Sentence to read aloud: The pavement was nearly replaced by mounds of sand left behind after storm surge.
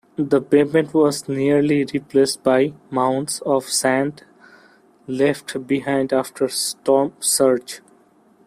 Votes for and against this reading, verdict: 0, 2, rejected